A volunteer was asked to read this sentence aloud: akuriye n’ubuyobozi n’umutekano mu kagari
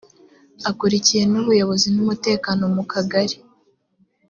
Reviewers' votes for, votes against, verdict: 3, 0, accepted